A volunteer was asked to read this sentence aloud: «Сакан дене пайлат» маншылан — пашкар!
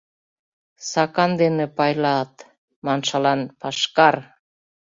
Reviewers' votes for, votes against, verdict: 2, 0, accepted